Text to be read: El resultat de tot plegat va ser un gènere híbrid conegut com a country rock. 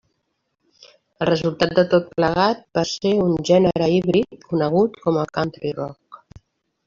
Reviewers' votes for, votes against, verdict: 1, 2, rejected